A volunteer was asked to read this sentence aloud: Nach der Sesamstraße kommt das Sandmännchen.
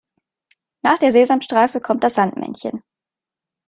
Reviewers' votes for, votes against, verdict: 2, 0, accepted